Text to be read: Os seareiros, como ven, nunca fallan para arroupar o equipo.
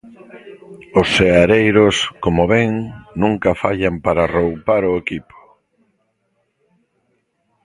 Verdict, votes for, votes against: rejected, 0, 2